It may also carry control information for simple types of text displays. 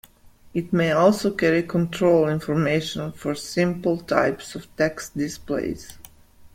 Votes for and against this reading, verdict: 2, 0, accepted